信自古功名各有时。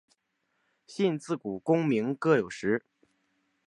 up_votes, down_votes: 6, 0